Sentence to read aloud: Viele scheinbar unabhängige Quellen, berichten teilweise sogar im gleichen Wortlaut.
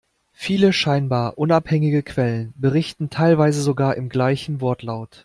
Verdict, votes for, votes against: accepted, 2, 0